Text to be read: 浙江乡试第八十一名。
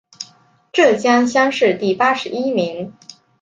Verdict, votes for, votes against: accepted, 5, 0